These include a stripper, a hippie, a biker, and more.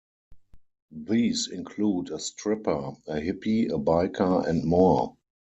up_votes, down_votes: 4, 0